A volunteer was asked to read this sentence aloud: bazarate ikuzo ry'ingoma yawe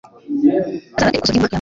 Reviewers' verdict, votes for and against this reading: rejected, 0, 2